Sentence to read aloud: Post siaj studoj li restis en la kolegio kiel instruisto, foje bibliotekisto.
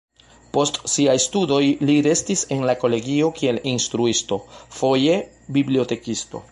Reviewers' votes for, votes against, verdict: 2, 0, accepted